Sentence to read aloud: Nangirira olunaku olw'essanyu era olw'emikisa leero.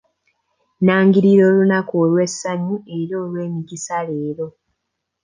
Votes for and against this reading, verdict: 2, 0, accepted